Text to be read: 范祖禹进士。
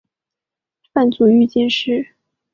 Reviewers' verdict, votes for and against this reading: accepted, 2, 0